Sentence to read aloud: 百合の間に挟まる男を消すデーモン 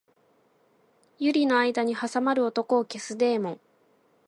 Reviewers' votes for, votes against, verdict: 2, 0, accepted